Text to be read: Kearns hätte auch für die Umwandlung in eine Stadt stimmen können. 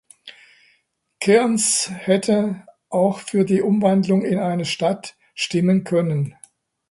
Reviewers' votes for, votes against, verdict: 2, 0, accepted